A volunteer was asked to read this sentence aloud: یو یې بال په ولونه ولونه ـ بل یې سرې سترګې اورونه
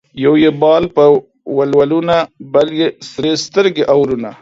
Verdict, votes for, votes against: rejected, 1, 2